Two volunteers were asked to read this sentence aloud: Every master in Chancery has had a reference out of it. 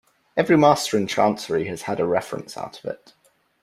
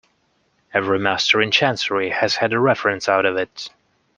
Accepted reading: second